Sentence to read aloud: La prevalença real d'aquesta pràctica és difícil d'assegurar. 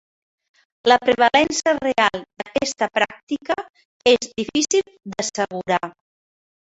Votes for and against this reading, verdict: 4, 1, accepted